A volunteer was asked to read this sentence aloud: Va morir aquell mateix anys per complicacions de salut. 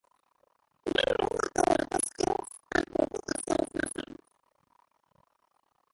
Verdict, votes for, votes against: rejected, 0, 2